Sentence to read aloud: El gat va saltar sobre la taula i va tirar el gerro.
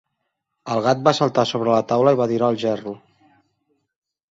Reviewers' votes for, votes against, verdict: 3, 0, accepted